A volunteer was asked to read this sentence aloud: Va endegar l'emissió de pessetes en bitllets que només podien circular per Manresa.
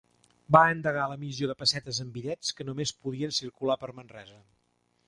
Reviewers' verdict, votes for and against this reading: accepted, 3, 0